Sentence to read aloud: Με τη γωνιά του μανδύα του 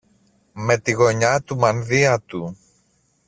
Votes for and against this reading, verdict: 2, 0, accepted